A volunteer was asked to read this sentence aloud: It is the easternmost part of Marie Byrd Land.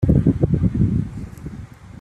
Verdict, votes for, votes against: rejected, 0, 2